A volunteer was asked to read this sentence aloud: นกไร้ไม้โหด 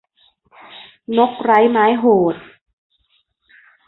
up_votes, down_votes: 2, 0